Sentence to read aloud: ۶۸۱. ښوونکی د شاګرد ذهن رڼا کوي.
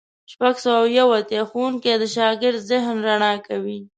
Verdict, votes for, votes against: rejected, 0, 2